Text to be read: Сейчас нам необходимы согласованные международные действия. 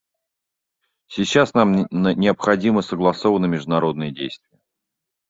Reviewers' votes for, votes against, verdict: 0, 2, rejected